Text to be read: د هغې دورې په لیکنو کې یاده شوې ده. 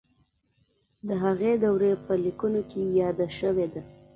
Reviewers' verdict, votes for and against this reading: accepted, 2, 0